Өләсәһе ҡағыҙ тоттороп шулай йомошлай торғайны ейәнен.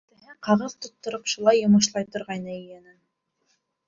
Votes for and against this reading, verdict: 0, 2, rejected